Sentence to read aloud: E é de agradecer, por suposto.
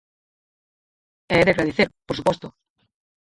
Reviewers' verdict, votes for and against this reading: rejected, 0, 4